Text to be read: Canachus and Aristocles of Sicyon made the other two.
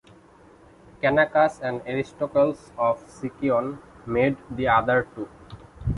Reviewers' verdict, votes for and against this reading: accepted, 2, 0